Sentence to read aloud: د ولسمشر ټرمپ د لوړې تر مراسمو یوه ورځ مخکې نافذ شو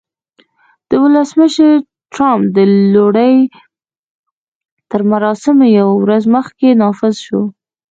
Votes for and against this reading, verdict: 2, 1, accepted